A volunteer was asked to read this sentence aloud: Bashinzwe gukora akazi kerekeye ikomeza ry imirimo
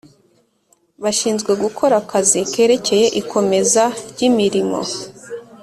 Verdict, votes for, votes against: accepted, 3, 0